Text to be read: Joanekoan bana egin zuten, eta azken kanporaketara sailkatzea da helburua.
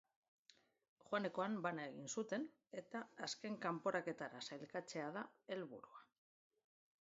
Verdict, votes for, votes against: accepted, 3, 1